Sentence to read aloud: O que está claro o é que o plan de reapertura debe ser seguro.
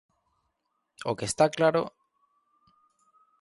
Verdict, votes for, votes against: rejected, 0, 2